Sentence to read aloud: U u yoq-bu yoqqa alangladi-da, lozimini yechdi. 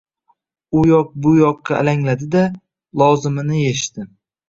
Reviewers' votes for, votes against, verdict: 2, 0, accepted